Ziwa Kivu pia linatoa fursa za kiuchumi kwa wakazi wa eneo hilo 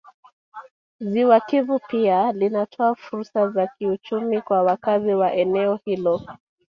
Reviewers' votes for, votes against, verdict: 1, 2, rejected